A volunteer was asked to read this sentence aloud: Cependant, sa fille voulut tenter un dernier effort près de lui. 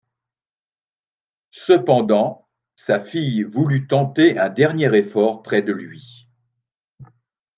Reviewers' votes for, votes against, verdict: 2, 0, accepted